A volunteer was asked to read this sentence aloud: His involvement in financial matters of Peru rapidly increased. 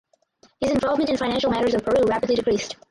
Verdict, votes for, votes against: rejected, 0, 4